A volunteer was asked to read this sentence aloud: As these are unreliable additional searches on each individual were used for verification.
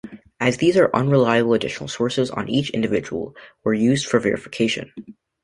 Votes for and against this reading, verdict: 2, 1, accepted